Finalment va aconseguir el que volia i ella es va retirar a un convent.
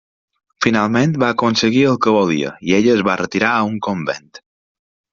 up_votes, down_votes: 3, 0